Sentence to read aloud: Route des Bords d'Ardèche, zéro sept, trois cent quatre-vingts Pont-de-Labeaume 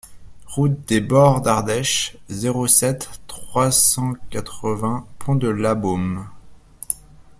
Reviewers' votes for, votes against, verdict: 2, 0, accepted